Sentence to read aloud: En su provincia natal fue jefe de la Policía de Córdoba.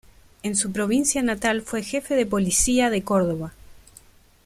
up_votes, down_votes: 2, 1